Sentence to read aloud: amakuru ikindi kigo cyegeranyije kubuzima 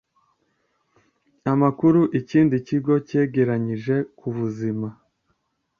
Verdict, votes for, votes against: accepted, 2, 0